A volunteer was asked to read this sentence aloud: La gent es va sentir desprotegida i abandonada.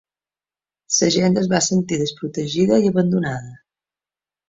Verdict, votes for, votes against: rejected, 0, 3